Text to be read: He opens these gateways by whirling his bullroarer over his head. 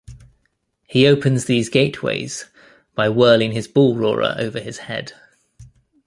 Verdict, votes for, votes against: accepted, 2, 0